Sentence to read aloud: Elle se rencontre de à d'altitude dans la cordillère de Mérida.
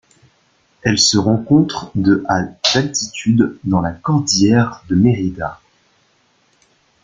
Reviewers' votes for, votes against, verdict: 2, 1, accepted